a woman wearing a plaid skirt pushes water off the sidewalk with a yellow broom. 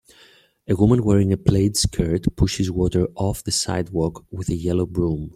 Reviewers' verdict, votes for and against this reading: accepted, 2, 0